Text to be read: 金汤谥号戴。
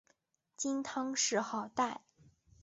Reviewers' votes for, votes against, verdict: 3, 2, accepted